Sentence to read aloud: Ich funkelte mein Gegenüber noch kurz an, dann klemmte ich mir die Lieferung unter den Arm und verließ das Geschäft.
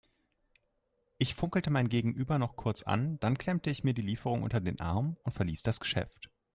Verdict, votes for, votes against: accepted, 4, 0